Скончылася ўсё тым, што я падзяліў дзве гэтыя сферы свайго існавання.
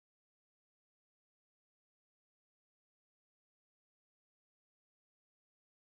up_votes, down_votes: 1, 2